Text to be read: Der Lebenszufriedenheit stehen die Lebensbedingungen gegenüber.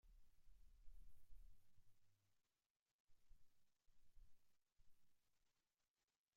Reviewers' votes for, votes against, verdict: 0, 2, rejected